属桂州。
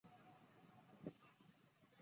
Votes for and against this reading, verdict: 1, 2, rejected